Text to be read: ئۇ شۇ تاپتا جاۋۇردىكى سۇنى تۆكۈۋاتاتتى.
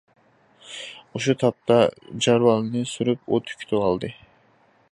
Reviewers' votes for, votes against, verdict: 0, 2, rejected